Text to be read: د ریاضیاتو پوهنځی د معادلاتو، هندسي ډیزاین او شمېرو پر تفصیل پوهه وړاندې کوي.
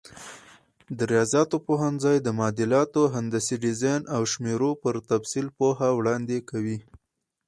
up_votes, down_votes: 2, 2